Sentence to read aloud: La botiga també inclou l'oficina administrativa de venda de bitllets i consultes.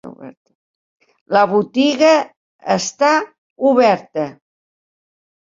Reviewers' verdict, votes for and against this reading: rejected, 1, 3